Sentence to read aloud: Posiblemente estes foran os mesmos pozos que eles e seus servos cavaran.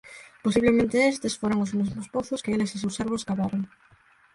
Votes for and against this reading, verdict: 0, 4, rejected